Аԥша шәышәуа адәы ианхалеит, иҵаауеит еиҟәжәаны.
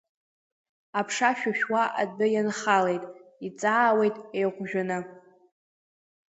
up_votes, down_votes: 2, 0